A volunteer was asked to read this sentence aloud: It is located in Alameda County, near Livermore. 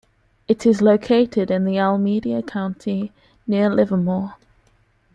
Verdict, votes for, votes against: rejected, 1, 2